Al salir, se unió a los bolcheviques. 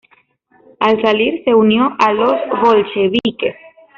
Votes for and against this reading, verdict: 1, 2, rejected